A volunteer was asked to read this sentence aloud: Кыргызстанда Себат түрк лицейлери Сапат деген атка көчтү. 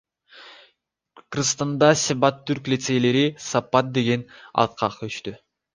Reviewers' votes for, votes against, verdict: 2, 0, accepted